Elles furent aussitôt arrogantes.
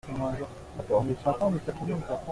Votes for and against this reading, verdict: 0, 2, rejected